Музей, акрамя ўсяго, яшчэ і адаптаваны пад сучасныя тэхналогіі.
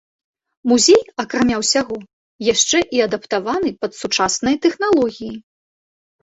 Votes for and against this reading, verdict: 2, 0, accepted